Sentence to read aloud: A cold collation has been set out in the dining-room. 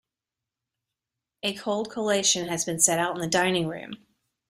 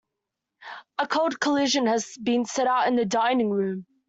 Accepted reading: first